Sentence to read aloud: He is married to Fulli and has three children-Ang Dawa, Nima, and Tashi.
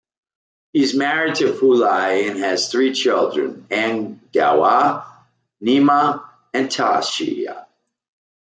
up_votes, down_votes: 2, 0